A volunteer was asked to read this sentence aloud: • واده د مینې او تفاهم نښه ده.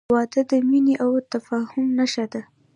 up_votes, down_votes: 2, 0